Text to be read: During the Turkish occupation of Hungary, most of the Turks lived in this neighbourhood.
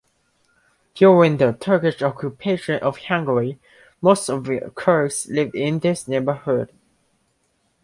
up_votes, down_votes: 2, 1